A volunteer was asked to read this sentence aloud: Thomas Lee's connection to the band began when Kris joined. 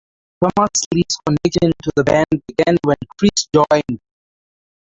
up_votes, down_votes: 0, 4